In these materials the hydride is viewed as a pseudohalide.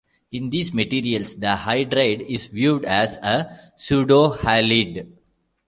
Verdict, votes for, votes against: rejected, 0, 2